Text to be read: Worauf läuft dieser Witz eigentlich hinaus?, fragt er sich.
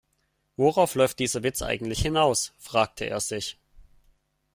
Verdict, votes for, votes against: rejected, 0, 2